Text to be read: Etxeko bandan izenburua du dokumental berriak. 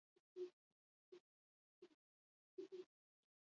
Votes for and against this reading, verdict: 0, 2, rejected